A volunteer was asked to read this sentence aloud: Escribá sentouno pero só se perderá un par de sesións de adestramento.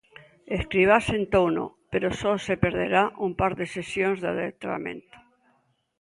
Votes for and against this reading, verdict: 2, 1, accepted